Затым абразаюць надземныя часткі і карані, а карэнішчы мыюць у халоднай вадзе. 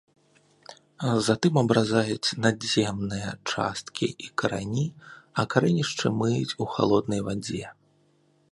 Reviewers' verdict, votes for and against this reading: accepted, 2, 0